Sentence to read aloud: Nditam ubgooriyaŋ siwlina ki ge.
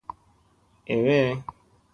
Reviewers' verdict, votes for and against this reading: rejected, 0, 2